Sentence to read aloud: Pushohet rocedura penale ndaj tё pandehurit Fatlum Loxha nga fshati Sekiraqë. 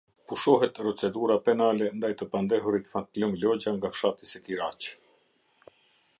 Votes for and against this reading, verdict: 0, 2, rejected